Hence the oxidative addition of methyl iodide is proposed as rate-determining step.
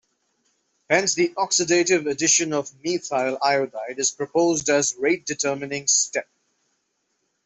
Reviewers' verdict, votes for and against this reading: accepted, 2, 0